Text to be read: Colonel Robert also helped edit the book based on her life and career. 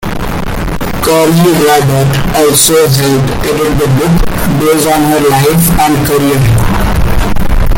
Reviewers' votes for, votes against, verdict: 0, 3, rejected